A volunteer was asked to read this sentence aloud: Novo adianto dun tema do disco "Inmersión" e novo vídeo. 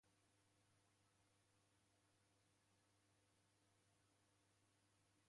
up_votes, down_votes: 0, 2